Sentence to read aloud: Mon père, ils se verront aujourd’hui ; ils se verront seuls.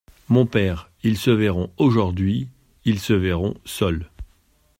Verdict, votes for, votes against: accepted, 2, 0